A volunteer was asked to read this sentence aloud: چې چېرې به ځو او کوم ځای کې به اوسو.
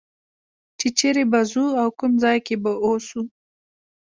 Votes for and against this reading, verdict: 2, 0, accepted